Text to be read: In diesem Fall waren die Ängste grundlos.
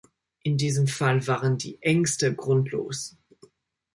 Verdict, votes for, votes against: accepted, 2, 0